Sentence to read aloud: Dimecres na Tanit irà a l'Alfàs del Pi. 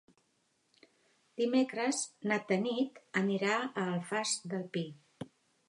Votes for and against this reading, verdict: 0, 2, rejected